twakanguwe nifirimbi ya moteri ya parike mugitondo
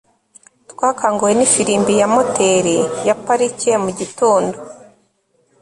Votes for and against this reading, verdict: 2, 0, accepted